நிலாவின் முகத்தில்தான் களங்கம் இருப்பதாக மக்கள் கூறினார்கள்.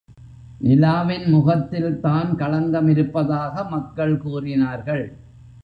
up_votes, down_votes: 2, 0